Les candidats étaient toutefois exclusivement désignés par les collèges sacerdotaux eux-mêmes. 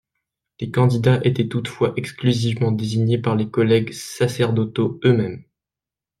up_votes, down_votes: 0, 2